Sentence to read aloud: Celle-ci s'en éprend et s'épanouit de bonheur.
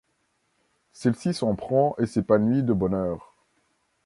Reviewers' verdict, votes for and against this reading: rejected, 1, 2